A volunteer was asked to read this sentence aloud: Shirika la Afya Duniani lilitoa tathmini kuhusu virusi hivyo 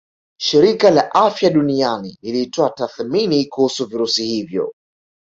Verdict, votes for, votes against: accepted, 2, 0